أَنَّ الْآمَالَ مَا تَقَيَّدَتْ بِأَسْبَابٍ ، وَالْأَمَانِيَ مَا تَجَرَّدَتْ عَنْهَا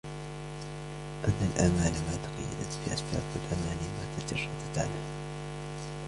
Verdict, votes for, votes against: accepted, 2, 0